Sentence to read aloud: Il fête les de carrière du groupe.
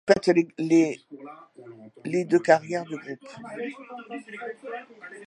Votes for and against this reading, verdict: 0, 2, rejected